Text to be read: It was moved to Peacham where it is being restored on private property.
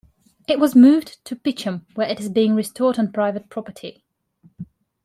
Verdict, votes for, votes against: accepted, 2, 0